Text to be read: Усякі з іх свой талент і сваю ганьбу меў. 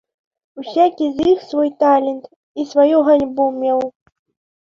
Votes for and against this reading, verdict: 2, 0, accepted